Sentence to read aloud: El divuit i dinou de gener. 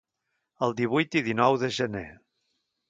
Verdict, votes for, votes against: accepted, 2, 0